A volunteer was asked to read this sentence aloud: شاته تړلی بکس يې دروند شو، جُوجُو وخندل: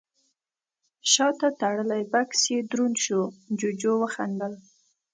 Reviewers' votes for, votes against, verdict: 2, 0, accepted